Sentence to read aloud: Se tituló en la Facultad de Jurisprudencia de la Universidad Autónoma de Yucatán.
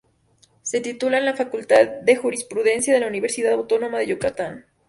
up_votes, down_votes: 0, 2